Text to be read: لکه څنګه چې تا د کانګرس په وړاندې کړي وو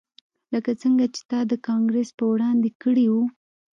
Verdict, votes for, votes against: accepted, 2, 0